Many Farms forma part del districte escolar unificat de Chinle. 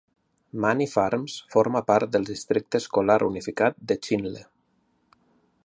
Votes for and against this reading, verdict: 2, 0, accepted